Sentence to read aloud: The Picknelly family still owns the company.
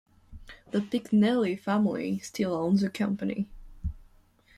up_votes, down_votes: 2, 0